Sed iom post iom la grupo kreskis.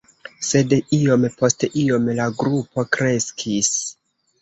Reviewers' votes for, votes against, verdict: 2, 1, accepted